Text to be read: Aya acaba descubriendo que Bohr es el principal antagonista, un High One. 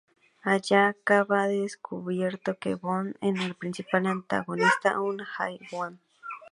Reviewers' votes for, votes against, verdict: 2, 0, accepted